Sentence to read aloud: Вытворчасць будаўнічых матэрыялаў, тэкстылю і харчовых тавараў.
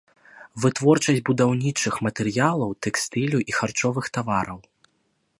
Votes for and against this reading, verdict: 2, 0, accepted